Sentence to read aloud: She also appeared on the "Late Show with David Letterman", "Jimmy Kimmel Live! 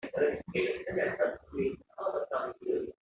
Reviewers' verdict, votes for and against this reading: rejected, 0, 2